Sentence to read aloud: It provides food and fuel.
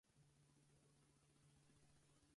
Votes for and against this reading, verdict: 0, 4, rejected